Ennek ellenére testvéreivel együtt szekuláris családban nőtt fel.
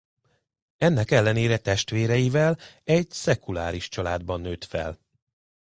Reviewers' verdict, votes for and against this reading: rejected, 1, 2